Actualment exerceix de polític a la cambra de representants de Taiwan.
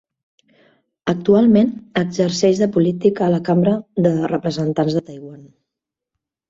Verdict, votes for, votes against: rejected, 0, 2